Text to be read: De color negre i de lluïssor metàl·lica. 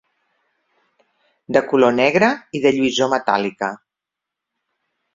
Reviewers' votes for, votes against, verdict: 0, 2, rejected